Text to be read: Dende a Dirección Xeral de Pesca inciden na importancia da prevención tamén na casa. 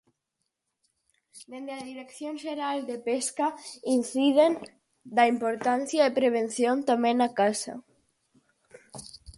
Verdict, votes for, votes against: rejected, 0, 4